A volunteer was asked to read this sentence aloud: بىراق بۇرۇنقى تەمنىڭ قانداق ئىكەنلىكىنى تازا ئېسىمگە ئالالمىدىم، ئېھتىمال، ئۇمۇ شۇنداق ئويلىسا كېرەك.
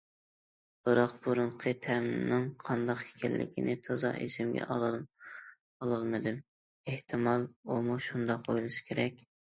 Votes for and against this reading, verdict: 1, 2, rejected